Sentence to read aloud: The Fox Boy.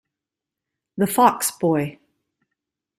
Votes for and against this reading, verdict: 0, 2, rejected